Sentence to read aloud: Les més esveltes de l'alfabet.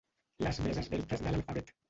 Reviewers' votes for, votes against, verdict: 1, 2, rejected